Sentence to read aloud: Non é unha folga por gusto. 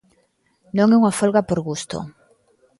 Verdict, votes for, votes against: accepted, 2, 0